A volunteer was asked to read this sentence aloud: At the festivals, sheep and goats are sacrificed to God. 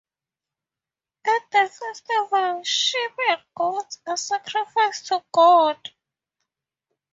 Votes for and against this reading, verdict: 0, 2, rejected